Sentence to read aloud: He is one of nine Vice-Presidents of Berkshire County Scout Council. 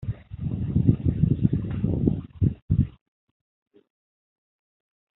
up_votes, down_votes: 0, 2